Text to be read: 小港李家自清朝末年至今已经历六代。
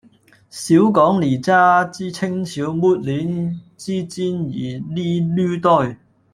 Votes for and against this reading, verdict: 1, 2, rejected